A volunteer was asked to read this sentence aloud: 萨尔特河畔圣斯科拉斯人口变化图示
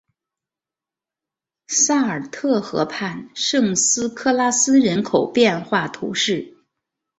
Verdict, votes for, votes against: accepted, 2, 0